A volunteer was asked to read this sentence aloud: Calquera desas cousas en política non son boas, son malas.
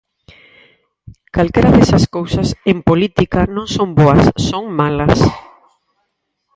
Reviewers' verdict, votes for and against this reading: rejected, 2, 2